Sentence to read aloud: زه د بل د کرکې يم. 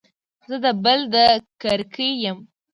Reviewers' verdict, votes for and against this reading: accepted, 2, 0